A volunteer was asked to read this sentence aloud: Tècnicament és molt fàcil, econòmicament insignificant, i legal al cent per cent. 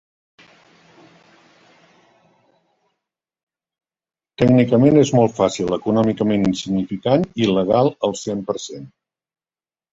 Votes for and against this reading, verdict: 0, 2, rejected